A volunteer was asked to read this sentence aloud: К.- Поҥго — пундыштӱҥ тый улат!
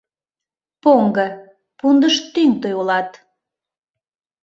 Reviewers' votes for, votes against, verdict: 0, 2, rejected